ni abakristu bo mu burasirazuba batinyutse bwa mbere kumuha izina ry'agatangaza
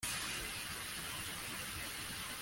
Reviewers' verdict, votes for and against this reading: rejected, 0, 2